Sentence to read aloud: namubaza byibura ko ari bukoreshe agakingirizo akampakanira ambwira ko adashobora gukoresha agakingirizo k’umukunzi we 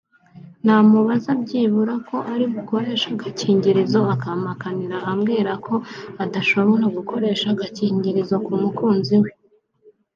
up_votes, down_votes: 2, 0